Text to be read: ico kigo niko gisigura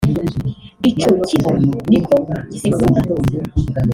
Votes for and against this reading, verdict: 2, 0, accepted